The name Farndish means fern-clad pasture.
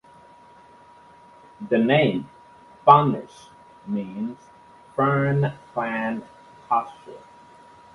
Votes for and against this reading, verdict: 2, 1, accepted